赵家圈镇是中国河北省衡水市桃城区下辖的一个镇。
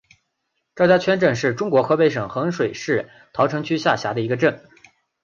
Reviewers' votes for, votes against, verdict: 2, 0, accepted